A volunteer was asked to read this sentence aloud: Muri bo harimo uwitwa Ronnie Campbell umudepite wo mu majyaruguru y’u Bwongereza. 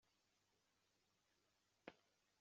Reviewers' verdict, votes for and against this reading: rejected, 0, 2